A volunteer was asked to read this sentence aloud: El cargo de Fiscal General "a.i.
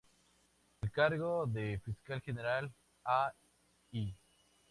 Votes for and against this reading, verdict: 2, 0, accepted